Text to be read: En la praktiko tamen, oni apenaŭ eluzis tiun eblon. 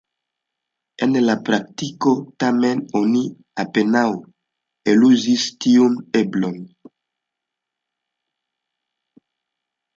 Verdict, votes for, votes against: accepted, 2, 0